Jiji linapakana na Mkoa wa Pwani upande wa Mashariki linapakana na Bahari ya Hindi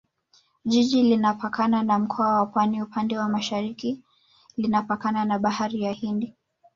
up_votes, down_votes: 1, 2